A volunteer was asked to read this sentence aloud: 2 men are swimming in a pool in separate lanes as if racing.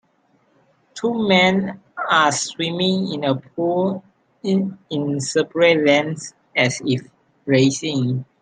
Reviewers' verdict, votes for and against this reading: rejected, 0, 2